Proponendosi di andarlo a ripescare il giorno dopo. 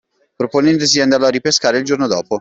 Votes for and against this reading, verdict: 2, 1, accepted